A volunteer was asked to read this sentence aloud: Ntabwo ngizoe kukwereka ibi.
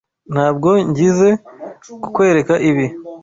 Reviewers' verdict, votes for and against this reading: rejected, 1, 2